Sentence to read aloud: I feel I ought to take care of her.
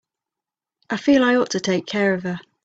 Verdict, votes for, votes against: accepted, 3, 0